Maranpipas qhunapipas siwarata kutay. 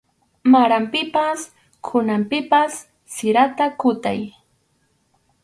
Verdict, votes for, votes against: rejected, 2, 2